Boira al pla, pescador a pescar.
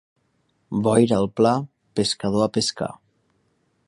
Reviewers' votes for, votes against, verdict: 2, 0, accepted